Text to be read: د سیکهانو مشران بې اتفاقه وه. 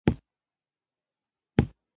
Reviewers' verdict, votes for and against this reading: rejected, 1, 2